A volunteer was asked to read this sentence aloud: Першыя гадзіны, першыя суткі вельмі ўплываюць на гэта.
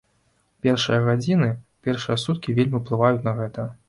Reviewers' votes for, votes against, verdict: 2, 0, accepted